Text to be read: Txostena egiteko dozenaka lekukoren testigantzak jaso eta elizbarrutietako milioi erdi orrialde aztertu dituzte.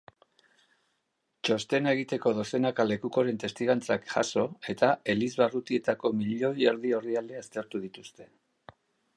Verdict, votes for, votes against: accepted, 2, 0